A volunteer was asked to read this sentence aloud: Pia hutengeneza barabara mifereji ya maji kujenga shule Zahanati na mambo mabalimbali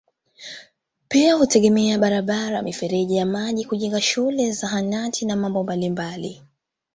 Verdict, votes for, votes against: rejected, 1, 2